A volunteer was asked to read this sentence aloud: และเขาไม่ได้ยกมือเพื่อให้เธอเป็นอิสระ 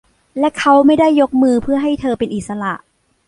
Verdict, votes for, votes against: rejected, 1, 2